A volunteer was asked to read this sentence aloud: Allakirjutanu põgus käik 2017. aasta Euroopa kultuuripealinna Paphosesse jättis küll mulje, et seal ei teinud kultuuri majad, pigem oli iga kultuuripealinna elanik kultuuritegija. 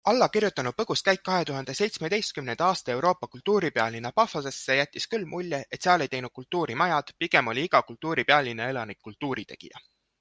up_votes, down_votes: 0, 2